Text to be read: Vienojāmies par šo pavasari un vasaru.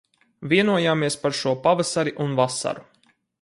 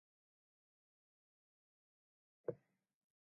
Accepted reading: first